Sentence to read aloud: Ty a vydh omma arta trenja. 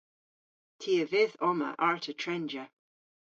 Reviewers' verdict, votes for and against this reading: accepted, 2, 0